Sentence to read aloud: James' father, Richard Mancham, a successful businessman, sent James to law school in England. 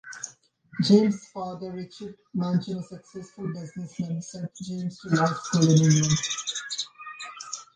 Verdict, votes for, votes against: accepted, 2, 0